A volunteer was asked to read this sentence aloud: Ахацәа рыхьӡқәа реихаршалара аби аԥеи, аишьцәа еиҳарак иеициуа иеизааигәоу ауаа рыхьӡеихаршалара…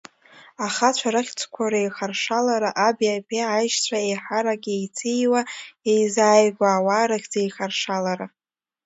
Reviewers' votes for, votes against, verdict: 2, 1, accepted